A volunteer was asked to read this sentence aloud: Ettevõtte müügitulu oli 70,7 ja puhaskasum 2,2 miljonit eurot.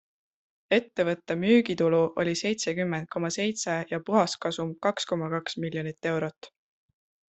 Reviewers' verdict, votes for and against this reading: rejected, 0, 2